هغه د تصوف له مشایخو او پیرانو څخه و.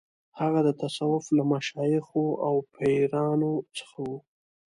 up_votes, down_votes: 2, 0